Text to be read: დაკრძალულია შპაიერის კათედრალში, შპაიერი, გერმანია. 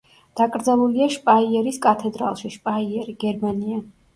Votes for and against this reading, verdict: 1, 2, rejected